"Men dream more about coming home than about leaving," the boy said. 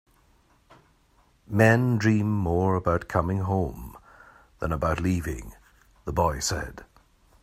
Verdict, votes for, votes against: accepted, 3, 0